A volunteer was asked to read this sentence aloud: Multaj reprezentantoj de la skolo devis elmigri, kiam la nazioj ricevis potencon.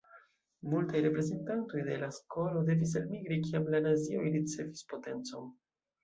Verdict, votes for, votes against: accepted, 2, 0